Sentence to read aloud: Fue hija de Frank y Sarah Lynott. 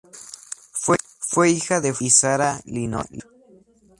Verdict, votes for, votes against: rejected, 0, 2